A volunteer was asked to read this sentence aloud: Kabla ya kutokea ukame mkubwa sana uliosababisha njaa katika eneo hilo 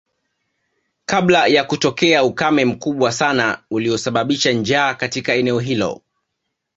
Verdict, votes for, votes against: accepted, 2, 0